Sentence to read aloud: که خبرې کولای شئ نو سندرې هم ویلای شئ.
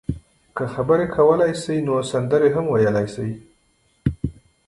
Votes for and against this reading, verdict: 1, 2, rejected